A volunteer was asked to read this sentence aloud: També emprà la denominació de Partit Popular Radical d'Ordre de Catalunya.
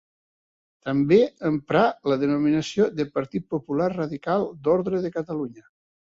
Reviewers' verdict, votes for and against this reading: accepted, 2, 0